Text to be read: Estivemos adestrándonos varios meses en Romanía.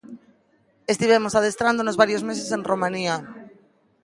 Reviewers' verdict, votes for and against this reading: accepted, 2, 0